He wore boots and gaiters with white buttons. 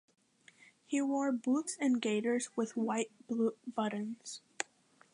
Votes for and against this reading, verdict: 1, 2, rejected